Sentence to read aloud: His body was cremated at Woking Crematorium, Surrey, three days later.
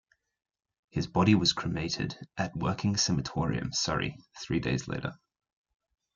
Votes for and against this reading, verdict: 1, 2, rejected